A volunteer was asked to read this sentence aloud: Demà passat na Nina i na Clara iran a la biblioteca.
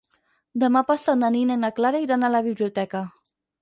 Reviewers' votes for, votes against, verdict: 6, 0, accepted